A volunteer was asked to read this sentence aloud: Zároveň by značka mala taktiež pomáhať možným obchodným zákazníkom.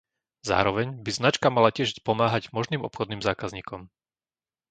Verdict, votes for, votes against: rejected, 0, 2